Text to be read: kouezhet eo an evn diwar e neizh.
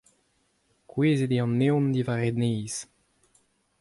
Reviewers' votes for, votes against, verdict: 2, 0, accepted